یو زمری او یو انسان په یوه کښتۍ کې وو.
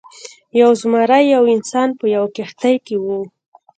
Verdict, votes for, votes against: rejected, 0, 2